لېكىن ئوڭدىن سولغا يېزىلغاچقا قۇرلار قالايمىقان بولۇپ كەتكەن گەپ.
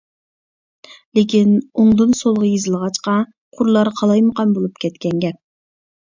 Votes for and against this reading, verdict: 2, 0, accepted